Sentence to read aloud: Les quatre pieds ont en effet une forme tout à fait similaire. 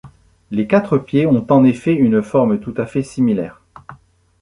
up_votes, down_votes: 2, 0